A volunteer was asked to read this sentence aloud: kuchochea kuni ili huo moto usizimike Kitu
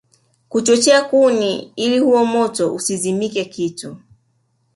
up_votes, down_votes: 3, 0